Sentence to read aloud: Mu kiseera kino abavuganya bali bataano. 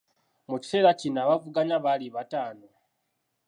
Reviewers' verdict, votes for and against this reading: accepted, 2, 0